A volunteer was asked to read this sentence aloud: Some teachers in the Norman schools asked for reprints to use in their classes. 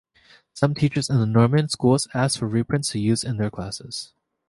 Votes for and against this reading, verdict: 1, 2, rejected